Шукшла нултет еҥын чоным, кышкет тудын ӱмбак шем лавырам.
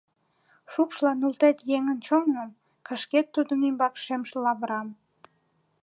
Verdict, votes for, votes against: rejected, 1, 2